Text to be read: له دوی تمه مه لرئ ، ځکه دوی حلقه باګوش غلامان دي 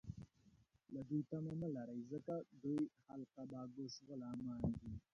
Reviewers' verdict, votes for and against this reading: rejected, 1, 2